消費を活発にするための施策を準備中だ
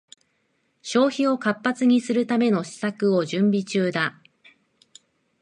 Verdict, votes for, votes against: accepted, 2, 0